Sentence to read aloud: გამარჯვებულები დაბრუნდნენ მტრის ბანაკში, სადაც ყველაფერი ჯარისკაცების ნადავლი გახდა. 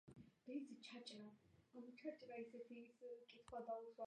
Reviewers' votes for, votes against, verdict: 1, 2, rejected